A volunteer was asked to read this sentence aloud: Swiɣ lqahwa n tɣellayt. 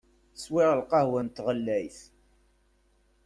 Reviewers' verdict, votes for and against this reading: accepted, 2, 0